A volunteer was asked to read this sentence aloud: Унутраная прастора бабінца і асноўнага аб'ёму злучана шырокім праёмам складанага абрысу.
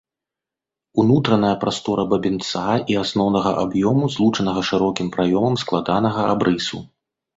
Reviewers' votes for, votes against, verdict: 1, 3, rejected